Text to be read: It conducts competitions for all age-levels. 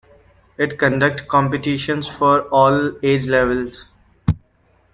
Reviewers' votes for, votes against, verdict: 0, 2, rejected